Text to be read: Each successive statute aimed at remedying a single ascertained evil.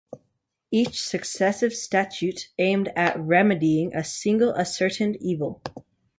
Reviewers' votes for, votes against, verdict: 2, 0, accepted